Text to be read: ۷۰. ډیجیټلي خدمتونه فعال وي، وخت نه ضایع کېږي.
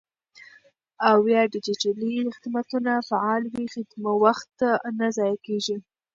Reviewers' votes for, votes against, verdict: 0, 2, rejected